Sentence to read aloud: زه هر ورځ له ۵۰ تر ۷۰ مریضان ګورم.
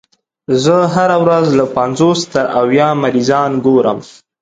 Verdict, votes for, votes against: rejected, 0, 2